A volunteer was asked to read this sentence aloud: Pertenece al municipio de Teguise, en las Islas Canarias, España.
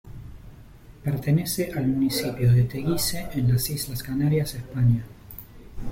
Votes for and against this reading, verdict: 2, 0, accepted